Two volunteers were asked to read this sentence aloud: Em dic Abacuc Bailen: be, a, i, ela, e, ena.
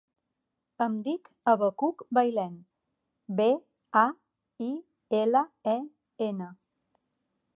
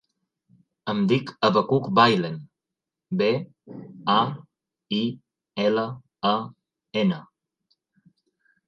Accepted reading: first